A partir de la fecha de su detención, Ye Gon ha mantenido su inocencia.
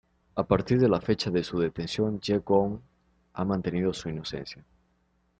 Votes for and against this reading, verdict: 2, 1, accepted